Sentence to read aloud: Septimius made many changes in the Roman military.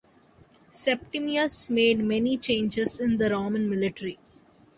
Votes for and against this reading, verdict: 2, 0, accepted